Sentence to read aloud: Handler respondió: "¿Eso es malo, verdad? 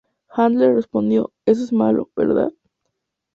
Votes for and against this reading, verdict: 2, 0, accepted